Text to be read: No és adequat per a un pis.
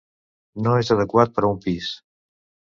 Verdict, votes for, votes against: accepted, 2, 0